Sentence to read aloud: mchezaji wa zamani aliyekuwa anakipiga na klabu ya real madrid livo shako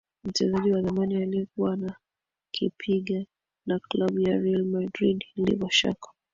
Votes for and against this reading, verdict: 2, 1, accepted